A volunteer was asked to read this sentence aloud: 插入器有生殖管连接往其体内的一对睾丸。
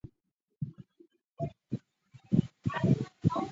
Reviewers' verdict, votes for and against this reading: rejected, 0, 2